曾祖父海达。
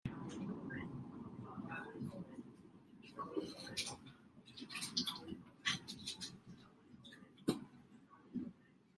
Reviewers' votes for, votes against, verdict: 0, 2, rejected